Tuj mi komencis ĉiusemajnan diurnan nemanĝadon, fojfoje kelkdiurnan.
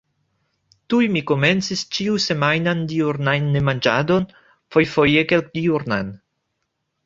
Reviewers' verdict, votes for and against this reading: rejected, 0, 2